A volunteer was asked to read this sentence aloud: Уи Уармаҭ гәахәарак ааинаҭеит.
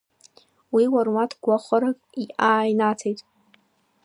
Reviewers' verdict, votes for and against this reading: rejected, 1, 2